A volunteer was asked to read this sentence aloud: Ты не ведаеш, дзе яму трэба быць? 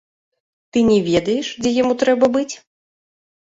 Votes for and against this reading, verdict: 2, 0, accepted